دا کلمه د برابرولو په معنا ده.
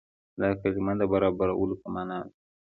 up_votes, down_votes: 2, 1